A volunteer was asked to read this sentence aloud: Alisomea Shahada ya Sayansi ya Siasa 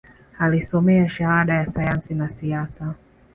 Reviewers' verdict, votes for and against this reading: accepted, 2, 0